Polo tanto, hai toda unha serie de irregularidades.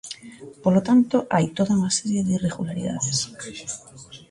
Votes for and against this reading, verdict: 2, 0, accepted